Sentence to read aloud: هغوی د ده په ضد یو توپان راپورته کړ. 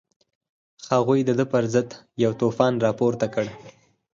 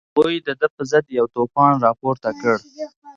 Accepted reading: first